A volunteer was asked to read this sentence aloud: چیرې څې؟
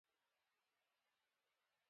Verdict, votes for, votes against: rejected, 1, 2